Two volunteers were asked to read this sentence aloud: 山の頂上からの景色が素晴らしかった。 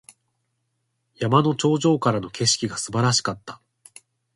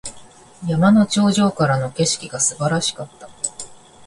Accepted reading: first